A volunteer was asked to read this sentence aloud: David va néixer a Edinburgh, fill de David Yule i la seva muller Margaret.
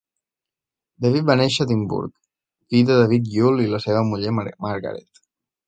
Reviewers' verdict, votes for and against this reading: rejected, 1, 2